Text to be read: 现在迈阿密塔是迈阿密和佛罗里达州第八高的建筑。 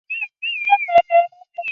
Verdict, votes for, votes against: rejected, 0, 2